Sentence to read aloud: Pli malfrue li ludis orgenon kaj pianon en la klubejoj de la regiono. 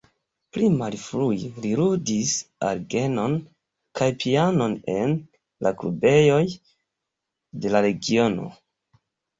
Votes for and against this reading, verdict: 1, 2, rejected